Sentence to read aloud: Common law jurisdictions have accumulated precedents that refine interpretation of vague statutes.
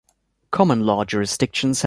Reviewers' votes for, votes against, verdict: 1, 2, rejected